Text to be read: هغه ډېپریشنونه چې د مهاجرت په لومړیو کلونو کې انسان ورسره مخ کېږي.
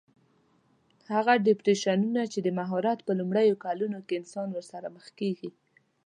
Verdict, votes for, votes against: rejected, 1, 2